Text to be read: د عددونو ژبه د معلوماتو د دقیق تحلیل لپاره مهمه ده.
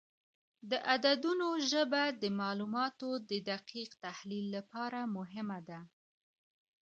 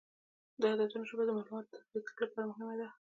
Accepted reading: first